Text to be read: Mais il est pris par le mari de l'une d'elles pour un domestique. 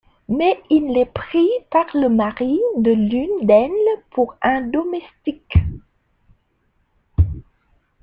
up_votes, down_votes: 2, 0